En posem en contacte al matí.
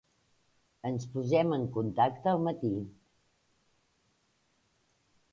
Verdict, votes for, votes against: rejected, 1, 2